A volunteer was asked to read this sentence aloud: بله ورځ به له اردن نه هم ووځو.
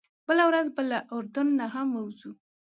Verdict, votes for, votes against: accepted, 2, 0